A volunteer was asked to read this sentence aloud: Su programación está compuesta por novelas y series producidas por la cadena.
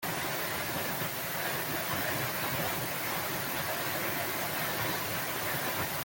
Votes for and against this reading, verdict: 0, 2, rejected